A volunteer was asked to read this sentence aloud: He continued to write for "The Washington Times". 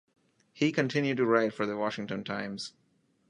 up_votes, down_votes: 2, 0